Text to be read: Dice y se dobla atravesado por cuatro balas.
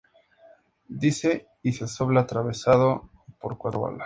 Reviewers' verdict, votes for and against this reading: rejected, 0, 2